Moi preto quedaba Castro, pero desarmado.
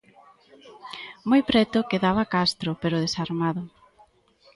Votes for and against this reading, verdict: 2, 0, accepted